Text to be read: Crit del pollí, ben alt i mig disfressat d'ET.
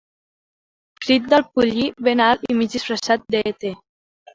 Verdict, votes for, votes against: rejected, 0, 2